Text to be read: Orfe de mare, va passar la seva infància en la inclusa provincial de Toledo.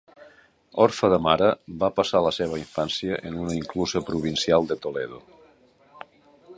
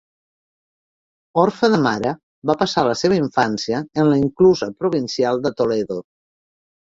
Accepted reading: second